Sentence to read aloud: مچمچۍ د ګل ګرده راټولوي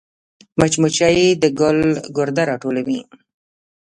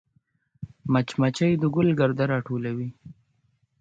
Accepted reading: second